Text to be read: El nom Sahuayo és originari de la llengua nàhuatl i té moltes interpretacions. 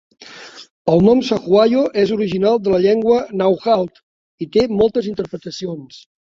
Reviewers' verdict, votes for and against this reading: rejected, 1, 2